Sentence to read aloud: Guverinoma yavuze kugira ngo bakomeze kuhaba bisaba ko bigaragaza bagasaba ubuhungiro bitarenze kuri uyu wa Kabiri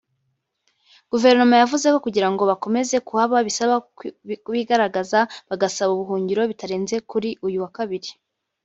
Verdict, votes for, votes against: rejected, 0, 2